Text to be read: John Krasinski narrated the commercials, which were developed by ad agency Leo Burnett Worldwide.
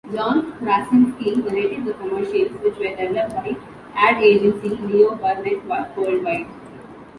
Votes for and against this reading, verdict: 2, 0, accepted